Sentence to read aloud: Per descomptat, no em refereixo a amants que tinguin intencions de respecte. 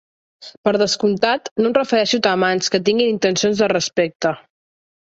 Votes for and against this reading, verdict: 0, 2, rejected